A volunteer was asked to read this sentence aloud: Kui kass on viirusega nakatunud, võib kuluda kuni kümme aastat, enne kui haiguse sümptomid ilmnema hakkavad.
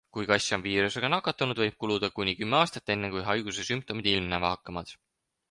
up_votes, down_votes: 4, 0